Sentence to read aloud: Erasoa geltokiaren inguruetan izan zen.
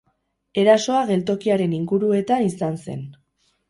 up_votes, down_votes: 0, 2